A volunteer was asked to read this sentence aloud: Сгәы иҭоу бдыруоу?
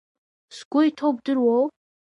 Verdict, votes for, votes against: accepted, 2, 0